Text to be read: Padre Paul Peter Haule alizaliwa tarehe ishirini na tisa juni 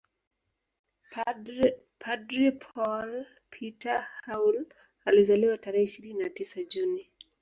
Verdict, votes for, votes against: rejected, 0, 5